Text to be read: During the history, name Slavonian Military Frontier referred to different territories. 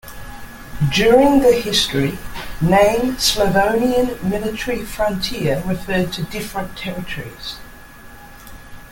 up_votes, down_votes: 2, 0